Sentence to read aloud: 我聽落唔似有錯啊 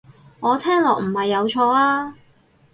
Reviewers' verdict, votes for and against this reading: rejected, 0, 4